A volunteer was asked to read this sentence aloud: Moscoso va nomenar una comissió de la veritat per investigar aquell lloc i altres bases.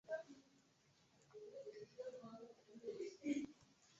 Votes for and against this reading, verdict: 0, 4, rejected